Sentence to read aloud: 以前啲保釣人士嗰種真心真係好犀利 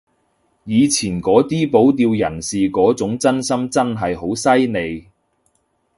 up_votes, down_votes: 0, 2